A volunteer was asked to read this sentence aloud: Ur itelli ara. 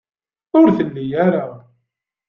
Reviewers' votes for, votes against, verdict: 1, 2, rejected